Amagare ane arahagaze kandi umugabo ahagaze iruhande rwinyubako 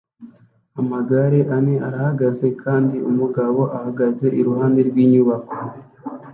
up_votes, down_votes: 2, 0